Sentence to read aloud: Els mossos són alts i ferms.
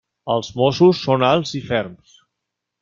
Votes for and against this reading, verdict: 3, 0, accepted